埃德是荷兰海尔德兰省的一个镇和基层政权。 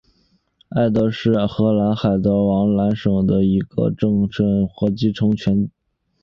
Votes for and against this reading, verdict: 2, 0, accepted